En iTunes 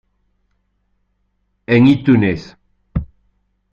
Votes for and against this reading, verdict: 2, 0, accepted